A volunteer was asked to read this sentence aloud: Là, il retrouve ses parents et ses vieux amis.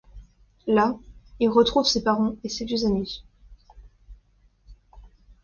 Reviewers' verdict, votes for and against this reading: accepted, 2, 0